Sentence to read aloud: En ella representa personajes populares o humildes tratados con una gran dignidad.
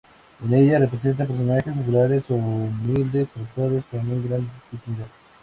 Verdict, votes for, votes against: rejected, 2, 2